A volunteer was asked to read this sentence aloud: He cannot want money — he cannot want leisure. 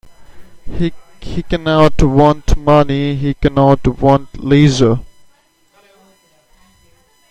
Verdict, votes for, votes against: rejected, 0, 2